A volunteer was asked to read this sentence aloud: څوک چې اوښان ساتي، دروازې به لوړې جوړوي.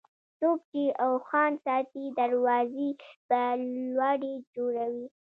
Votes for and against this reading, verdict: 2, 0, accepted